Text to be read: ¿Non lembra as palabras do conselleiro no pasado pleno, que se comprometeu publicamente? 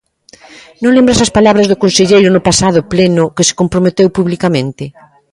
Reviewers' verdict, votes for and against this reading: rejected, 0, 2